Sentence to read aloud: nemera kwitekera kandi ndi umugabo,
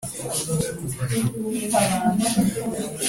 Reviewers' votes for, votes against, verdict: 0, 2, rejected